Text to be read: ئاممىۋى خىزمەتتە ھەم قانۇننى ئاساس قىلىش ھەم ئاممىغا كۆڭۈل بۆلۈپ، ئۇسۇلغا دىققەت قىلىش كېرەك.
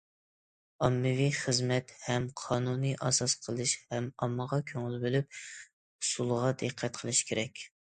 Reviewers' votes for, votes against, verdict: 0, 2, rejected